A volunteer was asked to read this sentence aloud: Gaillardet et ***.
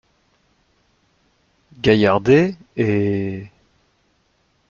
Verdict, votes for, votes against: accepted, 2, 1